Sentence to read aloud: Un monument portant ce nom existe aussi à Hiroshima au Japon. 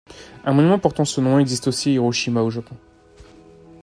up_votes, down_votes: 0, 2